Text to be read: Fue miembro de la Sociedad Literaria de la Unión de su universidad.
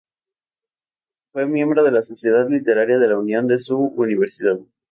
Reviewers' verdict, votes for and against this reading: accepted, 2, 0